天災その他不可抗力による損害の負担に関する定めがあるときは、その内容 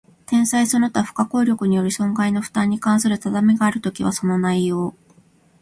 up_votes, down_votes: 2, 0